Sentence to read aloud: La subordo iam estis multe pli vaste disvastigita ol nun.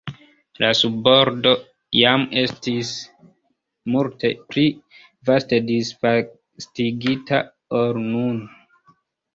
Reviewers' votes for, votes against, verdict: 2, 1, accepted